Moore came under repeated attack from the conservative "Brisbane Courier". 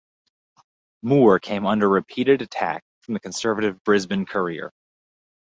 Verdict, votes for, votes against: accepted, 4, 0